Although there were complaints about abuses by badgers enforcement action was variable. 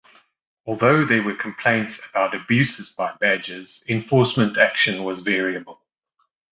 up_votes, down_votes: 2, 0